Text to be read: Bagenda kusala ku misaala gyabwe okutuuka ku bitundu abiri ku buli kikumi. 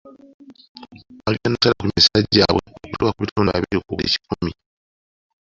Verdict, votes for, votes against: accepted, 2, 1